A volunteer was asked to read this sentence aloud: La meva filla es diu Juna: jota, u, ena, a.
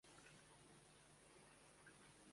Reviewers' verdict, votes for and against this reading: rejected, 0, 2